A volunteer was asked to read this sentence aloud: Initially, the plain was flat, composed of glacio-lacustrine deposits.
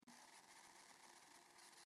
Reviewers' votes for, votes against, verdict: 0, 2, rejected